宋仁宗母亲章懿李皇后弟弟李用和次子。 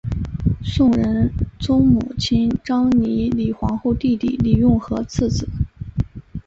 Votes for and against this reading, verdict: 3, 1, accepted